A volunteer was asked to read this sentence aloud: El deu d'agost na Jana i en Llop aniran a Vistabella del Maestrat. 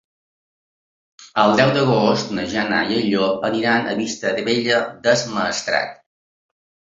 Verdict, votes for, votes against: rejected, 0, 2